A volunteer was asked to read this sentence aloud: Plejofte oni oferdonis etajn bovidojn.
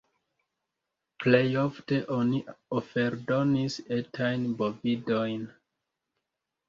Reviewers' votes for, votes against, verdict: 2, 0, accepted